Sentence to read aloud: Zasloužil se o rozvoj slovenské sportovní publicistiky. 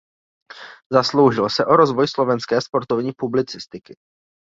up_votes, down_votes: 2, 0